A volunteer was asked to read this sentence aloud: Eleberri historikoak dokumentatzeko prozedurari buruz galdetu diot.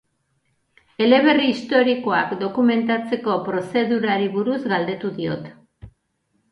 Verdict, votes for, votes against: accepted, 4, 0